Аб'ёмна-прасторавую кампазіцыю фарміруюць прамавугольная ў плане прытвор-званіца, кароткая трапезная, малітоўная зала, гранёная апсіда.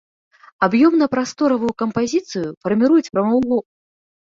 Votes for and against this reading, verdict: 0, 2, rejected